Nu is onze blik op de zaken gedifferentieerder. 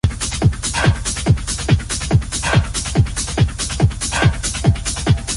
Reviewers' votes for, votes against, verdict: 0, 2, rejected